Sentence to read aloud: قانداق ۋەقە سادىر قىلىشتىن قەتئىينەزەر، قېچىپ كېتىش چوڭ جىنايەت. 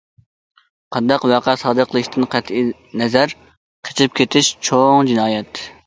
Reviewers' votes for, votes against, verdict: 2, 0, accepted